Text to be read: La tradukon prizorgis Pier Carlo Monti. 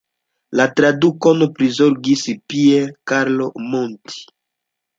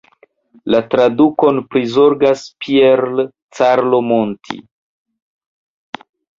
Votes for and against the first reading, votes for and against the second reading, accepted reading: 2, 0, 0, 2, first